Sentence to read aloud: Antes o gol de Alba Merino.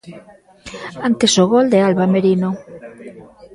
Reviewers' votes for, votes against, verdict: 2, 0, accepted